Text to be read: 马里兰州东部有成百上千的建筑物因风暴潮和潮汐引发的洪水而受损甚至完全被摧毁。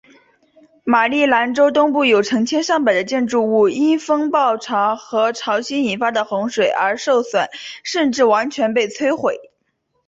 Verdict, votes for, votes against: accepted, 3, 0